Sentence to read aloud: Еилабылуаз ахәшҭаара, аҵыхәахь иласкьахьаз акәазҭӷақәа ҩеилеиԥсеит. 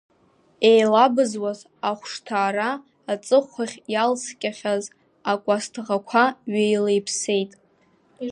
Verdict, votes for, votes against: rejected, 0, 2